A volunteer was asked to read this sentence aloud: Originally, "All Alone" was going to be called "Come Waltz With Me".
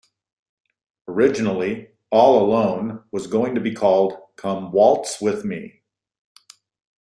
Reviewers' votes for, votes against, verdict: 2, 0, accepted